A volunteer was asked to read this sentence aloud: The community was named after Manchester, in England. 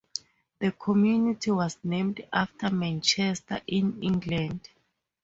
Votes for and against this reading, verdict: 4, 0, accepted